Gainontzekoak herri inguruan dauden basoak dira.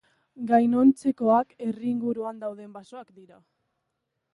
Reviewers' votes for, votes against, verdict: 0, 2, rejected